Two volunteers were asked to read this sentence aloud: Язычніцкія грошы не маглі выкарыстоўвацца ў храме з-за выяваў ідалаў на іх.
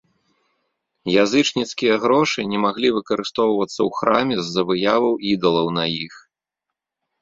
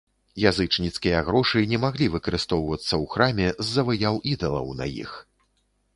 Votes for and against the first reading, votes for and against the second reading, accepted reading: 2, 0, 1, 2, first